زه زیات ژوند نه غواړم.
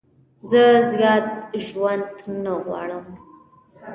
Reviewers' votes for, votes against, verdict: 1, 2, rejected